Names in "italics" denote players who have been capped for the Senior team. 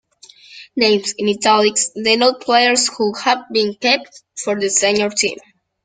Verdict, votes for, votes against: rejected, 1, 2